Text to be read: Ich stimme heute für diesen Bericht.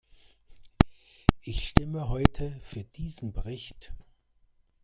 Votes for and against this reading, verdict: 1, 2, rejected